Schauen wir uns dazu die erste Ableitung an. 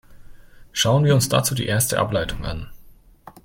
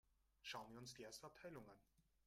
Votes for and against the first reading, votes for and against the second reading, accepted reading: 2, 0, 0, 3, first